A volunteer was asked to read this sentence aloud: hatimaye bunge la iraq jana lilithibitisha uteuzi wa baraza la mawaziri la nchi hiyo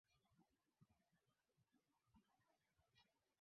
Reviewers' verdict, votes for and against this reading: rejected, 0, 2